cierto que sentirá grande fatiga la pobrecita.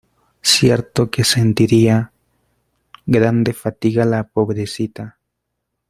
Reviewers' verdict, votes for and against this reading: rejected, 0, 2